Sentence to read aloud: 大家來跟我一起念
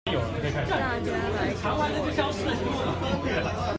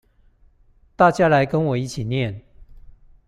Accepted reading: second